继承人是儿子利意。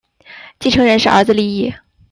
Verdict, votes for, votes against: accepted, 2, 0